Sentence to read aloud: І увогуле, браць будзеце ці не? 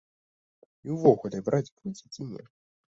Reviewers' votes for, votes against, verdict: 1, 2, rejected